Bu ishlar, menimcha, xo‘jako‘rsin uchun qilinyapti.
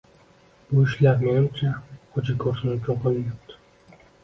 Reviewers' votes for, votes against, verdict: 1, 2, rejected